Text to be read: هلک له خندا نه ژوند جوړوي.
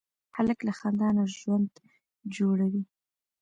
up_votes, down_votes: 2, 0